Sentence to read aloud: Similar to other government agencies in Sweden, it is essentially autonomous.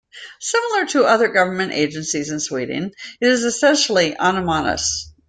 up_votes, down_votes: 0, 2